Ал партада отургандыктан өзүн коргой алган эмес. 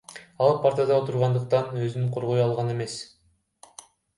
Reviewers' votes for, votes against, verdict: 2, 0, accepted